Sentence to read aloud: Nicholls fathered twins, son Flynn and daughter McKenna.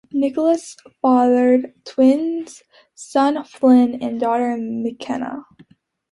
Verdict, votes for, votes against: accepted, 2, 0